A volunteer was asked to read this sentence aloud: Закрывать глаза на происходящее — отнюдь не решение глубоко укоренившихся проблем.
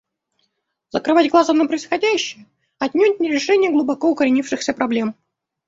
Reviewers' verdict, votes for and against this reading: rejected, 1, 2